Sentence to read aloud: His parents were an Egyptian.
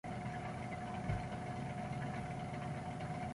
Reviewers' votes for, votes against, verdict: 0, 2, rejected